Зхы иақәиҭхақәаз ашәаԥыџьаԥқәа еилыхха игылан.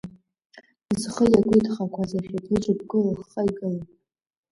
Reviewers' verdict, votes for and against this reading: rejected, 1, 2